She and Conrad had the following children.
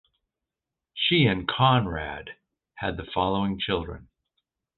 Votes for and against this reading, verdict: 2, 0, accepted